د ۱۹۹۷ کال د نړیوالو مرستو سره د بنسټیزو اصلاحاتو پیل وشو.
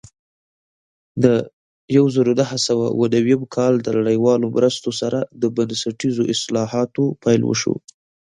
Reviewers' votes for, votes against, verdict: 0, 2, rejected